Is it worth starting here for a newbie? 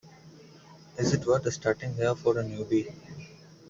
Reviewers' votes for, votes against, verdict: 2, 1, accepted